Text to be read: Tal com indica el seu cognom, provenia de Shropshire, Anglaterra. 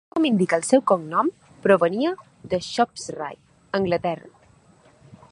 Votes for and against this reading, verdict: 1, 2, rejected